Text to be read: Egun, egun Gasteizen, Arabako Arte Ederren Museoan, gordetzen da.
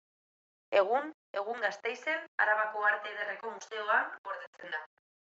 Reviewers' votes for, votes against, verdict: 1, 2, rejected